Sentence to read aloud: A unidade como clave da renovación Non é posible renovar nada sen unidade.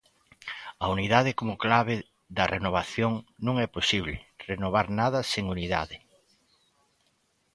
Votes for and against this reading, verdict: 2, 0, accepted